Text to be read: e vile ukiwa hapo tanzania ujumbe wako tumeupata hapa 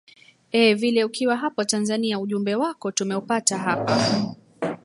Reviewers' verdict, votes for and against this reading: rejected, 0, 2